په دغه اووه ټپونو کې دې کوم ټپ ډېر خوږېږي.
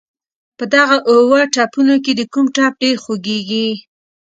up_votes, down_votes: 2, 0